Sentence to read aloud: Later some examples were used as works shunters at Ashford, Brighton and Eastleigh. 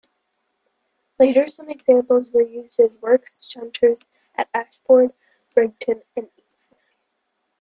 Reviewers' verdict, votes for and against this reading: accepted, 2, 1